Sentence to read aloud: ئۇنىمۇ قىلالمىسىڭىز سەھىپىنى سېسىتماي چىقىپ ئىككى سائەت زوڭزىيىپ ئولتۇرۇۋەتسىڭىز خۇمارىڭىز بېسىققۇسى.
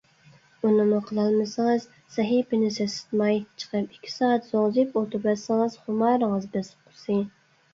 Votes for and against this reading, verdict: 2, 0, accepted